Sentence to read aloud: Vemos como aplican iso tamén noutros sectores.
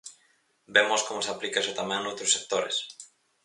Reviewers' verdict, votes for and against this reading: rejected, 0, 4